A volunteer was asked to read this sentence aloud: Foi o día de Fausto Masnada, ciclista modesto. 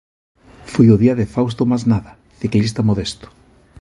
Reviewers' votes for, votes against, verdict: 2, 0, accepted